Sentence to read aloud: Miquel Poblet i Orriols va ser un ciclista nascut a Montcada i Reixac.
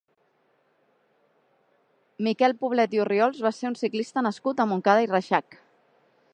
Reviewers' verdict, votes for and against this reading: accepted, 2, 0